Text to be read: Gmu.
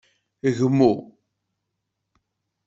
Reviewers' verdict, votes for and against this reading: accepted, 2, 0